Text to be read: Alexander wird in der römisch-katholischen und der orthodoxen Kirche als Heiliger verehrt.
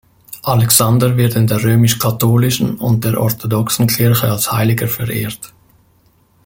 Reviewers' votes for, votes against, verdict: 0, 2, rejected